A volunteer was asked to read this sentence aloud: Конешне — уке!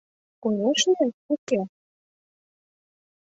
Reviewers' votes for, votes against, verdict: 2, 0, accepted